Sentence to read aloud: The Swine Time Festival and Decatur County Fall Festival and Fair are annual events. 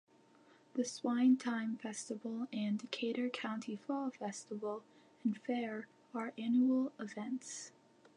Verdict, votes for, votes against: accepted, 2, 0